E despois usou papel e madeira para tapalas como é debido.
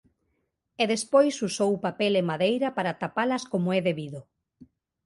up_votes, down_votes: 3, 0